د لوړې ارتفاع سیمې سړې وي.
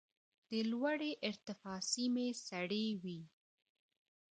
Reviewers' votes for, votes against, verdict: 2, 1, accepted